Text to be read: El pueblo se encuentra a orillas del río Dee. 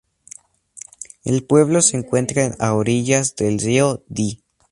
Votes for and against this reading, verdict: 0, 2, rejected